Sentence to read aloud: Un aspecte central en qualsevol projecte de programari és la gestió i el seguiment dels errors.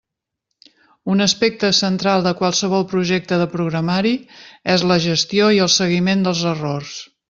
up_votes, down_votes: 0, 2